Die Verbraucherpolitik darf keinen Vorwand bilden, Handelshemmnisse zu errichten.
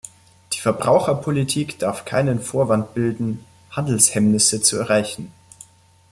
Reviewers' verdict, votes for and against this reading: rejected, 0, 2